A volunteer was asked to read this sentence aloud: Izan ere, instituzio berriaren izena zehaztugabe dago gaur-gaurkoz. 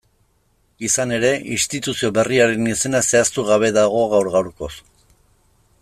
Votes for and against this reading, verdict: 2, 0, accepted